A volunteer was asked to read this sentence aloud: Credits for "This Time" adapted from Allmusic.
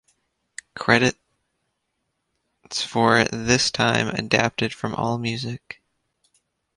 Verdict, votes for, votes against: rejected, 0, 2